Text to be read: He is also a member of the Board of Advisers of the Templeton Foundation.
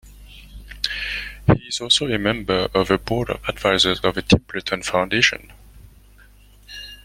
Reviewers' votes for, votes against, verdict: 2, 1, accepted